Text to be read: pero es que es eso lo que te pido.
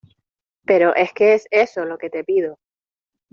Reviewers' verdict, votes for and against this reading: accepted, 2, 0